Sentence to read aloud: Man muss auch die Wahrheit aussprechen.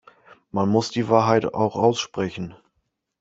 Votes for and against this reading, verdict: 1, 2, rejected